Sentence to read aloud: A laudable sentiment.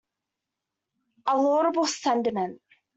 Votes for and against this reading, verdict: 2, 0, accepted